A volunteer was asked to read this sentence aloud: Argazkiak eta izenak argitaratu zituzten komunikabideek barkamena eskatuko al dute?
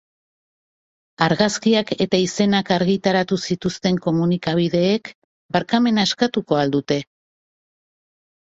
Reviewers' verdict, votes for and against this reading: accepted, 4, 1